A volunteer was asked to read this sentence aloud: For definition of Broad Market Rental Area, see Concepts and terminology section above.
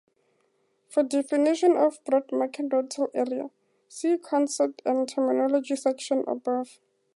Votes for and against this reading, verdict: 4, 0, accepted